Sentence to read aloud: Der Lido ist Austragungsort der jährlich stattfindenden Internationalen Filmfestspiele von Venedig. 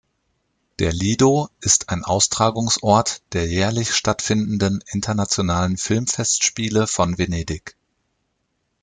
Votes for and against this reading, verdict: 0, 2, rejected